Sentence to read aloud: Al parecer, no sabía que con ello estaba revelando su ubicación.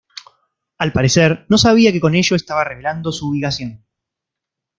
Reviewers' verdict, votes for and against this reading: accepted, 2, 0